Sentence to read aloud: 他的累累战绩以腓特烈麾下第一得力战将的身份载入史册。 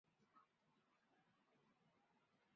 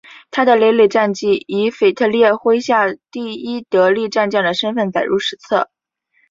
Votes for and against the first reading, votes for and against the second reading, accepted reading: 0, 4, 4, 0, second